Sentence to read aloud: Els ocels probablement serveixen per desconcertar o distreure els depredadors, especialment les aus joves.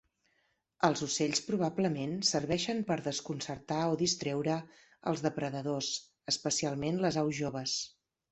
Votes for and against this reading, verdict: 1, 3, rejected